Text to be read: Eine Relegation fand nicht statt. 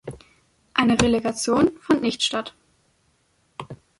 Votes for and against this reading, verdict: 4, 0, accepted